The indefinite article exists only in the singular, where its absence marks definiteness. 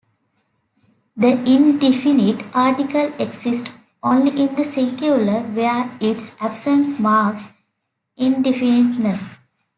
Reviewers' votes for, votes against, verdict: 0, 2, rejected